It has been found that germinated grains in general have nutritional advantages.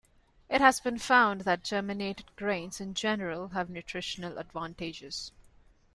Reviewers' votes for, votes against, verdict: 2, 0, accepted